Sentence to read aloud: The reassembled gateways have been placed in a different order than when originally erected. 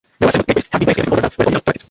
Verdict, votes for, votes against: rejected, 0, 2